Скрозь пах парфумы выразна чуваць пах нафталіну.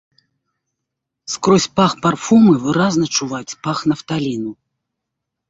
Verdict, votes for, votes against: accepted, 2, 0